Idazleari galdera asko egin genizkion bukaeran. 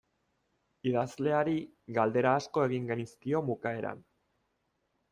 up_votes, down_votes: 2, 0